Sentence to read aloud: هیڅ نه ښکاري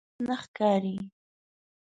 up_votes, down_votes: 1, 2